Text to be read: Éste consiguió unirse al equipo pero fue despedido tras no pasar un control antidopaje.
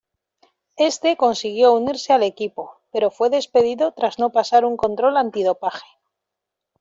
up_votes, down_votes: 2, 1